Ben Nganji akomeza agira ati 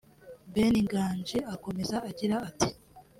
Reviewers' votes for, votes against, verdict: 0, 2, rejected